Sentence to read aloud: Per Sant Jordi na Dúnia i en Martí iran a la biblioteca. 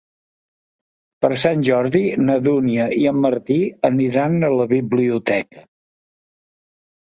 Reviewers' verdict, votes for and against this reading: rejected, 1, 2